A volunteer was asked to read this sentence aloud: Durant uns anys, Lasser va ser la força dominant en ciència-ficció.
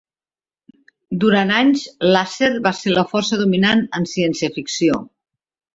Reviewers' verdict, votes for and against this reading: rejected, 1, 2